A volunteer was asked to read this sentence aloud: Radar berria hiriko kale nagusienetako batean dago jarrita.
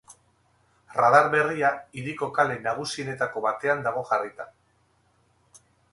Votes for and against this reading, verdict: 0, 2, rejected